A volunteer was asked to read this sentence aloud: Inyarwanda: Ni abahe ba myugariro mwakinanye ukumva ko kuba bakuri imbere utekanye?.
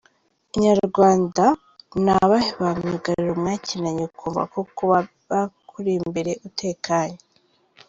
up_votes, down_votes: 0, 3